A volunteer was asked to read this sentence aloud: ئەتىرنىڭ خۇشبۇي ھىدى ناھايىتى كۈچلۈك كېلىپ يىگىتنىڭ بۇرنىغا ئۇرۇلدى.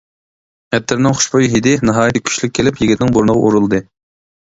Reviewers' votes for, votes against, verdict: 2, 0, accepted